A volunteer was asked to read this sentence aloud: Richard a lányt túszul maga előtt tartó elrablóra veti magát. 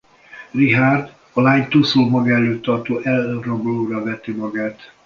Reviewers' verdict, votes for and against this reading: rejected, 0, 2